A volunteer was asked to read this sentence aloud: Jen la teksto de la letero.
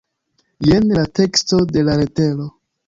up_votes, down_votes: 2, 0